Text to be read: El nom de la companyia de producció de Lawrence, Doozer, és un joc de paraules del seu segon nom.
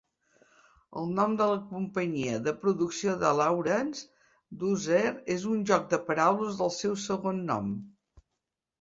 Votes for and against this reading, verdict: 3, 0, accepted